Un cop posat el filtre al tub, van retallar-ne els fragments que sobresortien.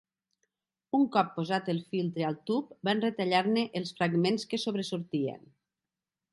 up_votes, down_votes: 3, 0